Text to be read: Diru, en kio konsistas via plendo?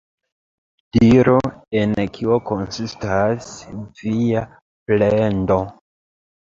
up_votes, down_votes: 2, 0